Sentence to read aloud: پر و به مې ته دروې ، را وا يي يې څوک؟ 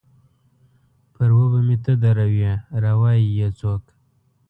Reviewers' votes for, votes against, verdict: 2, 0, accepted